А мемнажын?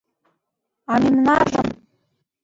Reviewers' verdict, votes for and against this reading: rejected, 2, 3